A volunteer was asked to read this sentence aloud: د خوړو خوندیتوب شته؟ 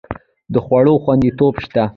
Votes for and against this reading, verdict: 0, 2, rejected